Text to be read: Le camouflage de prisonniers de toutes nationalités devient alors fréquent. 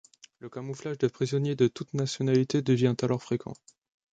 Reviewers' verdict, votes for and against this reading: accepted, 2, 0